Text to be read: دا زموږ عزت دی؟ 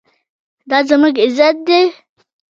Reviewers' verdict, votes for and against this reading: rejected, 1, 2